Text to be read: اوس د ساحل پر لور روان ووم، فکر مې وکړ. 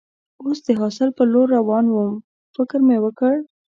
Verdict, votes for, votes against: rejected, 1, 2